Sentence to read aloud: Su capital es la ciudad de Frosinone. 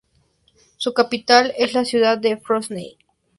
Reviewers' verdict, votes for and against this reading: accepted, 2, 0